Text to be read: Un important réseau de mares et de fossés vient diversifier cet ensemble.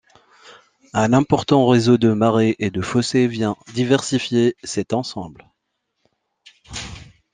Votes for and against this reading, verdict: 0, 2, rejected